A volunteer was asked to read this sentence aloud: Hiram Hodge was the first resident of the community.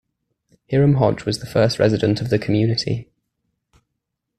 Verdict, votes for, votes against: accepted, 2, 1